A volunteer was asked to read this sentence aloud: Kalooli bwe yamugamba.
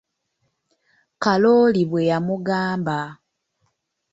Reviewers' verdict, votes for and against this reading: accepted, 2, 0